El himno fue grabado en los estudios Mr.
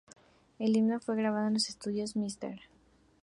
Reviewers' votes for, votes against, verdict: 2, 0, accepted